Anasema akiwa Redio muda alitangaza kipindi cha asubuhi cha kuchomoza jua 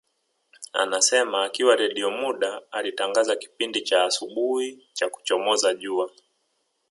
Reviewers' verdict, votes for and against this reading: accepted, 4, 1